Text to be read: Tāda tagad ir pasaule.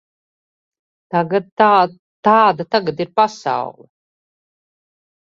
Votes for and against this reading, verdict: 0, 2, rejected